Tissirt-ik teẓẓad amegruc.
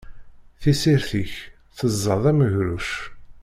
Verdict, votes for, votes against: accepted, 2, 0